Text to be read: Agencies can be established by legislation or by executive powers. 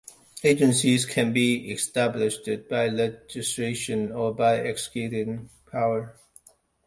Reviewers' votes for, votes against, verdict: 1, 2, rejected